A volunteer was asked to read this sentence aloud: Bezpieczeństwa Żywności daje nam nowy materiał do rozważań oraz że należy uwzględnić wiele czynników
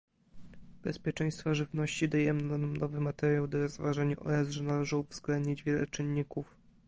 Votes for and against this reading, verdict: 1, 2, rejected